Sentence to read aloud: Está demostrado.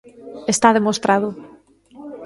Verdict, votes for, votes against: accepted, 2, 0